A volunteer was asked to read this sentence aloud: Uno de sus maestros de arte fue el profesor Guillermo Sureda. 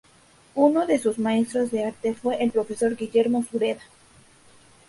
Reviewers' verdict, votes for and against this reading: rejected, 0, 2